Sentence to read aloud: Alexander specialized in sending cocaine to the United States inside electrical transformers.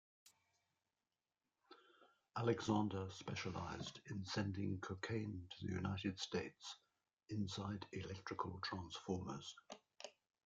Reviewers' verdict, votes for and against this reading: rejected, 1, 2